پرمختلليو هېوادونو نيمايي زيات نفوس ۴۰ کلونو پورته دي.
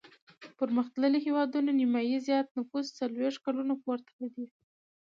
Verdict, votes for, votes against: rejected, 0, 2